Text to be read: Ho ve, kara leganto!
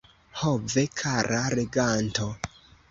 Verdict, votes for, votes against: rejected, 0, 2